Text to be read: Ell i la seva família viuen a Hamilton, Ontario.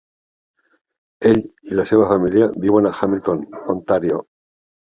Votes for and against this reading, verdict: 1, 2, rejected